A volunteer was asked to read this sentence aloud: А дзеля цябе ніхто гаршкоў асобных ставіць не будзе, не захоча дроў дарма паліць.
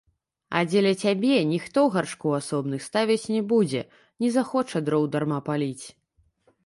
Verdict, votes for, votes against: rejected, 1, 2